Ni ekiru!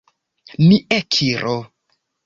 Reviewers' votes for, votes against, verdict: 1, 2, rejected